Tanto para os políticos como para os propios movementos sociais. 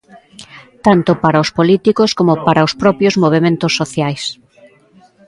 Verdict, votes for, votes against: accepted, 2, 0